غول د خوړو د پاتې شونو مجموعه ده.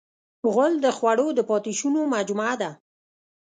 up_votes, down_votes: 0, 2